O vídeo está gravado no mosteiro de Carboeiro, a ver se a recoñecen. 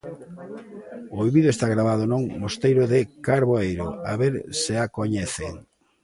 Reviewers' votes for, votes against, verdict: 0, 2, rejected